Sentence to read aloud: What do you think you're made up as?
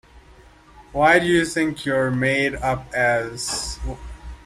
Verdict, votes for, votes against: accepted, 2, 1